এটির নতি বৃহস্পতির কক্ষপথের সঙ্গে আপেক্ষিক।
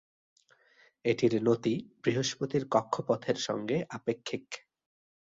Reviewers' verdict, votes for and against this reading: accepted, 2, 0